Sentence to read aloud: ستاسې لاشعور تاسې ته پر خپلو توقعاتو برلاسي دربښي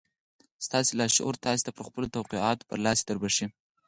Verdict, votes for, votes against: rejected, 2, 4